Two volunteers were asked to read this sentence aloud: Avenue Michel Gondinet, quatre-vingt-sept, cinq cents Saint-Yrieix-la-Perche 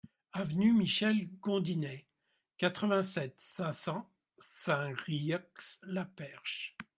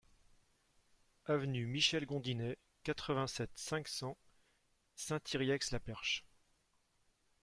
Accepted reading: first